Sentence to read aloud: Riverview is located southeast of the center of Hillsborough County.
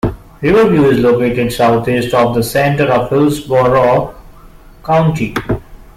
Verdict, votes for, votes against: rejected, 0, 2